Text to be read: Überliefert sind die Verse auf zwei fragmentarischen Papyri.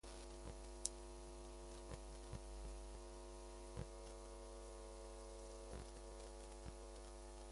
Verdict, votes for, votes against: rejected, 0, 2